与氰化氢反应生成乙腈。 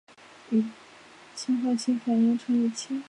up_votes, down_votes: 1, 2